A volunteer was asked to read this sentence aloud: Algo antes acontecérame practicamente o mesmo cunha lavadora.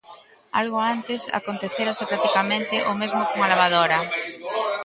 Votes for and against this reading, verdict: 0, 2, rejected